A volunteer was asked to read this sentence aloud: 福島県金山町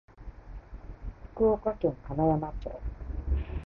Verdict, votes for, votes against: rejected, 0, 2